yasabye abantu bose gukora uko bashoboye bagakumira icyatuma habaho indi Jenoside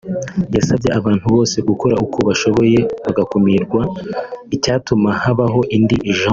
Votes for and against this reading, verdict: 1, 2, rejected